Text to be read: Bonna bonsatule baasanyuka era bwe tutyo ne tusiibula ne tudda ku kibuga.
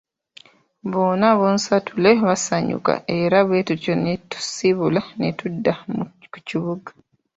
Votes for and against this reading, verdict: 2, 1, accepted